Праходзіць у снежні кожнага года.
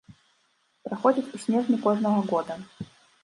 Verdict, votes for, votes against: rejected, 1, 2